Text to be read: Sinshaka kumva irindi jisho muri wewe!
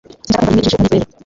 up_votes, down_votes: 0, 3